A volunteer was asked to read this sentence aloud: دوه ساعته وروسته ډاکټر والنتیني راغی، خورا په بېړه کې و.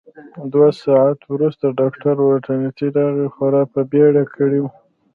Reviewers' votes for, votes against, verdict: 2, 0, accepted